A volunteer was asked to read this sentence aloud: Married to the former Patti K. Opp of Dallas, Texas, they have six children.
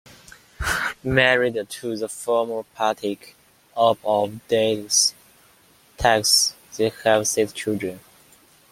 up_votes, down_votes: 1, 2